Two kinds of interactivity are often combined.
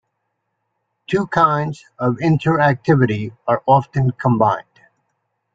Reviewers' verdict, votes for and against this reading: accepted, 2, 0